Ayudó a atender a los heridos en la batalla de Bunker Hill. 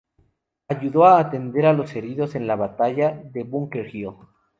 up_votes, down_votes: 0, 2